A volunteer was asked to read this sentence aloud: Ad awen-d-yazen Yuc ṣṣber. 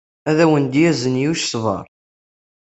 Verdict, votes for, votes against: accepted, 2, 0